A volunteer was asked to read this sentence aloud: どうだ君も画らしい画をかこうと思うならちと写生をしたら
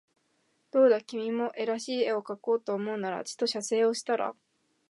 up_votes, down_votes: 2, 2